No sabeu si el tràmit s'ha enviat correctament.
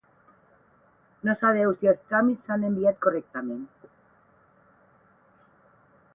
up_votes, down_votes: 8, 0